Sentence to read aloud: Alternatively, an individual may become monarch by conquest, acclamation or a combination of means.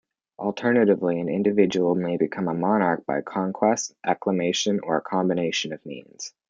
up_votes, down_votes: 2, 1